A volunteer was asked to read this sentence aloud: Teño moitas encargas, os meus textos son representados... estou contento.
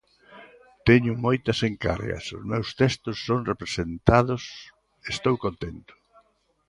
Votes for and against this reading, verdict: 1, 2, rejected